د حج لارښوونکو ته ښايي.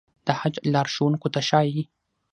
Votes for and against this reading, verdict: 6, 0, accepted